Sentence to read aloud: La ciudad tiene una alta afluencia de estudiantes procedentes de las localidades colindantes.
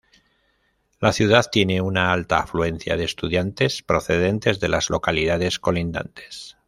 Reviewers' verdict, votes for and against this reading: accepted, 2, 0